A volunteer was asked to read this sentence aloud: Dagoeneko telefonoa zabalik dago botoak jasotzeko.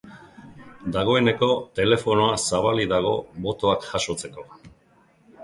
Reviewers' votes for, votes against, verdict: 2, 0, accepted